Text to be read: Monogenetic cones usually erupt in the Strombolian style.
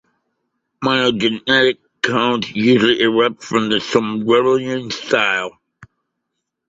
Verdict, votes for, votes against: rejected, 0, 2